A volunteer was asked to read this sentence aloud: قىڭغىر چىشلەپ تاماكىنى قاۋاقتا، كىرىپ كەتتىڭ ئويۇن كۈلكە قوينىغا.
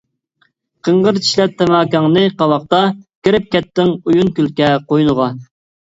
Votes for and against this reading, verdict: 0, 2, rejected